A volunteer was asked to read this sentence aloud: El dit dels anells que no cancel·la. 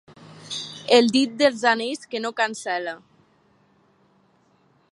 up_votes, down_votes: 4, 0